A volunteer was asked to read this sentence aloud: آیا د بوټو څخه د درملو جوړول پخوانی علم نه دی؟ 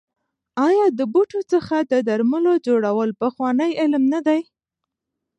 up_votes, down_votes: 2, 0